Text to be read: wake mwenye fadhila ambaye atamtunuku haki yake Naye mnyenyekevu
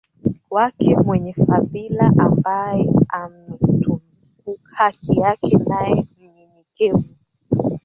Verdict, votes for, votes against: rejected, 2, 3